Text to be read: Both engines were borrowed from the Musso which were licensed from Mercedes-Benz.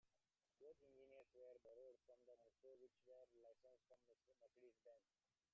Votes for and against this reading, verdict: 0, 3, rejected